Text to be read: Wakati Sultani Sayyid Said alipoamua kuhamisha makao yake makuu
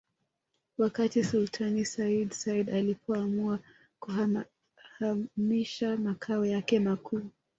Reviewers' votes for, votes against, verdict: 2, 0, accepted